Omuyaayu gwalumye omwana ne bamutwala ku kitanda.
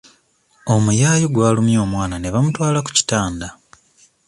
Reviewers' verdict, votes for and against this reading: accepted, 2, 1